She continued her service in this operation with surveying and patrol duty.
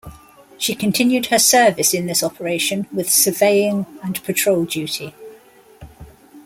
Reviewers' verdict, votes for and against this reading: accepted, 2, 1